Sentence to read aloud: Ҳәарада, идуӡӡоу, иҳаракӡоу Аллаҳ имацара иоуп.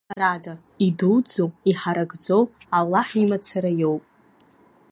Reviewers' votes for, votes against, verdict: 2, 0, accepted